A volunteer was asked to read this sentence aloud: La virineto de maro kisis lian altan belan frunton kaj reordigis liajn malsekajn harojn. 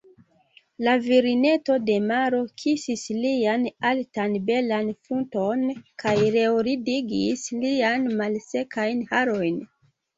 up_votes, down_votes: 0, 2